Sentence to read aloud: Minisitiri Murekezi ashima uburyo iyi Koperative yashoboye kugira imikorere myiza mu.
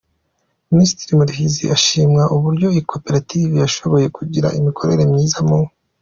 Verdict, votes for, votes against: accepted, 2, 0